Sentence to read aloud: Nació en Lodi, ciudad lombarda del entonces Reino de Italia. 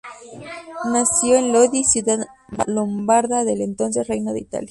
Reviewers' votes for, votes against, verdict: 2, 0, accepted